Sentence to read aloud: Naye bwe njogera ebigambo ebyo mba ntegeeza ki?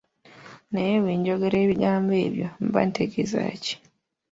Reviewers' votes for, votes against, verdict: 2, 0, accepted